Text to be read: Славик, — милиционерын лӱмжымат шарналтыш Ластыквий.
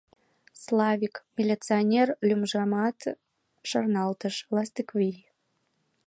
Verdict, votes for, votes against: rejected, 2, 3